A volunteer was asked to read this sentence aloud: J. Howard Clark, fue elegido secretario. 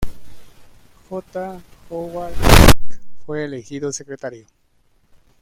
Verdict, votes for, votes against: rejected, 1, 2